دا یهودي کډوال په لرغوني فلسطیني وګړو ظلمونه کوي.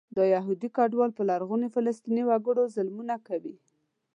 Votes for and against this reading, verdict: 2, 0, accepted